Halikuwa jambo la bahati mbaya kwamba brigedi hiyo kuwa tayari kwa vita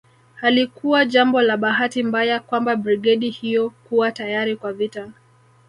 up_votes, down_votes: 2, 1